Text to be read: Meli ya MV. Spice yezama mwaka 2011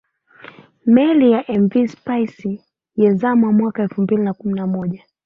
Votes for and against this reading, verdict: 0, 2, rejected